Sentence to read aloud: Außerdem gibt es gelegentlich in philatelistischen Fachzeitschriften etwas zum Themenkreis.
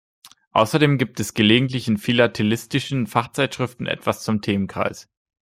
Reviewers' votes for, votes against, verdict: 2, 0, accepted